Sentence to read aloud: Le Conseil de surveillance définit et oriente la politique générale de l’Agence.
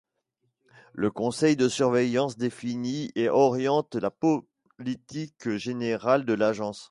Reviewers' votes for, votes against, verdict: 1, 2, rejected